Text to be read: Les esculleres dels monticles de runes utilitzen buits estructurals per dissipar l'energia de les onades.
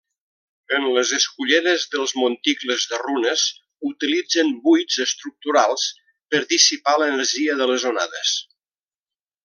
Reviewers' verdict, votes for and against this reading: rejected, 1, 2